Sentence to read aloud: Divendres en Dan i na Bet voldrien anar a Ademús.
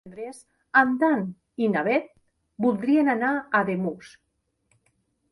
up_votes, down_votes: 1, 2